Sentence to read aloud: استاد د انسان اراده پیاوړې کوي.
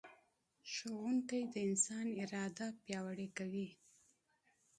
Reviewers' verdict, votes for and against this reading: rejected, 1, 2